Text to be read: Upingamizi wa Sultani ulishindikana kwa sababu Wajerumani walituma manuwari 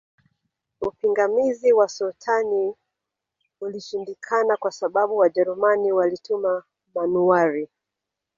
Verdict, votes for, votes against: rejected, 1, 2